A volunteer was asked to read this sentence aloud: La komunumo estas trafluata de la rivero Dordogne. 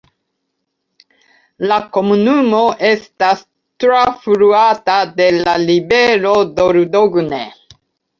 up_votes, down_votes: 0, 2